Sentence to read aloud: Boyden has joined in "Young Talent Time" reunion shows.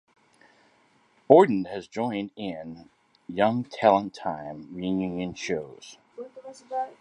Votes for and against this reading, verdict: 1, 2, rejected